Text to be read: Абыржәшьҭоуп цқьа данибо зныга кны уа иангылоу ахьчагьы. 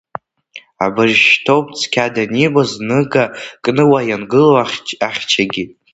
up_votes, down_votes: 1, 2